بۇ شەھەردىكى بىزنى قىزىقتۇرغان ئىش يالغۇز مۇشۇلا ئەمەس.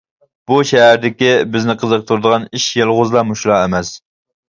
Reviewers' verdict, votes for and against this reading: rejected, 0, 2